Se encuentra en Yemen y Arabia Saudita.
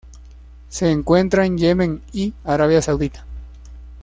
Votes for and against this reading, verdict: 2, 0, accepted